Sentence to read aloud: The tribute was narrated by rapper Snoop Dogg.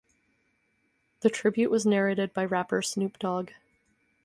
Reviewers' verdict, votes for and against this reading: accepted, 4, 0